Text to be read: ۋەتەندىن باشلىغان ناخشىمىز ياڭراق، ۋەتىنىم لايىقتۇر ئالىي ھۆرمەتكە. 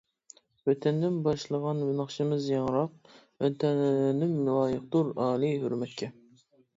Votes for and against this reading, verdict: 0, 2, rejected